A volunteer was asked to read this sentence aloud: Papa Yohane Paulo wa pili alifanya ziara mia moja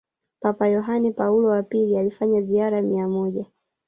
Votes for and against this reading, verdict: 2, 3, rejected